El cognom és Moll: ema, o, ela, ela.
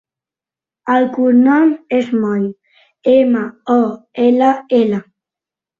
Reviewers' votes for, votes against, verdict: 2, 1, accepted